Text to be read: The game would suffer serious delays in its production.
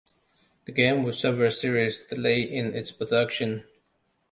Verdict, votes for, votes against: rejected, 1, 2